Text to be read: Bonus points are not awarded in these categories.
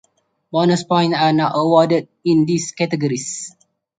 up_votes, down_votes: 2, 4